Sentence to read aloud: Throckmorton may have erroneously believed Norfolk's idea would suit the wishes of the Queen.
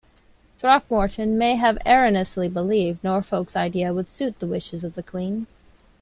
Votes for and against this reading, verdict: 2, 1, accepted